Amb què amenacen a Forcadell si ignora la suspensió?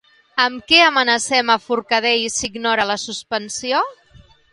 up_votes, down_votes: 2, 0